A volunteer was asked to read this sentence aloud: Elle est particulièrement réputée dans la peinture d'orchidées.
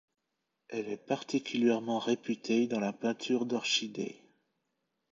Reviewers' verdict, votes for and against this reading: rejected, 0, 3